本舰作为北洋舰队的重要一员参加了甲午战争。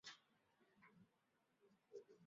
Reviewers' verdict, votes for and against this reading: rejected, 1, 3